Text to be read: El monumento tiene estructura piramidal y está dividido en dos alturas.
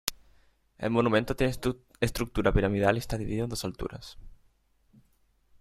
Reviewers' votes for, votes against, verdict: 1, 2, rejected